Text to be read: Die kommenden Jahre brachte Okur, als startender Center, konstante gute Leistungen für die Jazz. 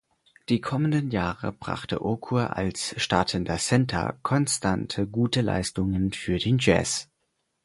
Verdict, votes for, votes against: rejected, 0, 4